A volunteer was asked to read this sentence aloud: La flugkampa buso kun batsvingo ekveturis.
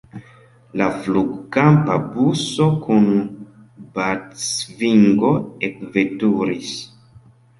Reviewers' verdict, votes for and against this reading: accepted, 2, 1